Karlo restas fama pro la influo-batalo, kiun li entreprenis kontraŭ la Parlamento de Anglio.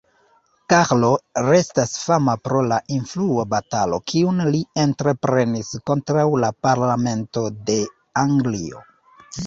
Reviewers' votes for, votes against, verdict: 2, 1, accepted